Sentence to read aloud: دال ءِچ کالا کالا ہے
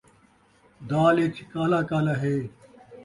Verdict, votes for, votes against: accepted, 2, 0